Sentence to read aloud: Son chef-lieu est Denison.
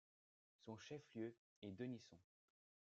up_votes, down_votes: 2, 0